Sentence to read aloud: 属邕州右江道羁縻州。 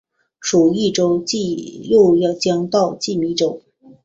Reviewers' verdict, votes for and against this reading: rejected, 1, 3